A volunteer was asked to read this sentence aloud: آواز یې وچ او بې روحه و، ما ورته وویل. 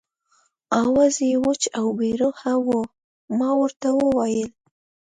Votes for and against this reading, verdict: 2, 0, accepted